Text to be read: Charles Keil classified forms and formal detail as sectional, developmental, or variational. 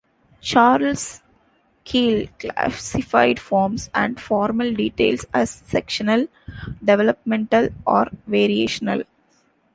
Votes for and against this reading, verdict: 1, 2, rejected